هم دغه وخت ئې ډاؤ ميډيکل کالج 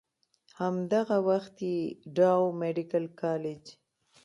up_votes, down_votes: 3, 1